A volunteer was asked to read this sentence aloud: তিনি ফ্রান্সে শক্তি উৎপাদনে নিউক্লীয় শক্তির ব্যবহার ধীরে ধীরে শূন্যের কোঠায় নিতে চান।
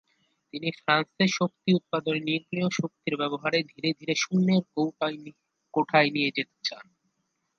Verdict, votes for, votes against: rejected, 1, 2